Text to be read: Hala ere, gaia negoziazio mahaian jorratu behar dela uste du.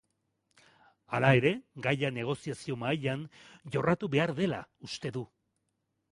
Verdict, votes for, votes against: accepted, 2, 0